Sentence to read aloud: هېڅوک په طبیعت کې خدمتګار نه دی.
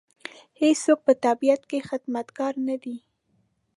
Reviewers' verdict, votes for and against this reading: accepted, 2, 0